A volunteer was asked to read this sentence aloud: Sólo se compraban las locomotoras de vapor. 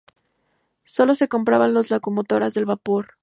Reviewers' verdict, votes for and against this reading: rejected, 2, 2